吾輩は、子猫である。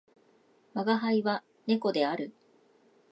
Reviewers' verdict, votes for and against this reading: rejected, 1, 2